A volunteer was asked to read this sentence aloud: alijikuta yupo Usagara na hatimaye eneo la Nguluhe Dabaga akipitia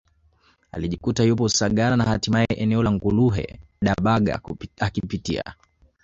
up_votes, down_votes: 1, 2